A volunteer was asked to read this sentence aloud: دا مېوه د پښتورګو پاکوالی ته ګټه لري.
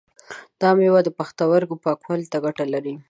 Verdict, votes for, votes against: accepted, 2, 0